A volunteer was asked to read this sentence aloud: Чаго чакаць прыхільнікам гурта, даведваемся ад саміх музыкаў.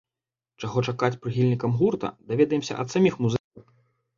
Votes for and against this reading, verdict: 0, 2, rejected